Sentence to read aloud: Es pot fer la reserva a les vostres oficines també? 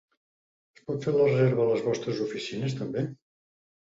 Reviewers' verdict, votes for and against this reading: rejected, 1, 3